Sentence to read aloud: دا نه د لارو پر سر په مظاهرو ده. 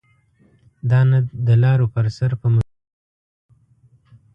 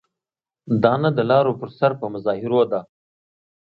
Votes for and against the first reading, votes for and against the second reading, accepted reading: 1, 2, 2, 0, second